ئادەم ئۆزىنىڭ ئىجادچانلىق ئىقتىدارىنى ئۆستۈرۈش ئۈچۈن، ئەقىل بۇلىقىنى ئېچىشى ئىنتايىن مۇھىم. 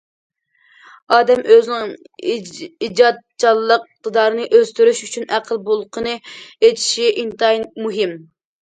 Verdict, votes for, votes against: rejected, 0, 2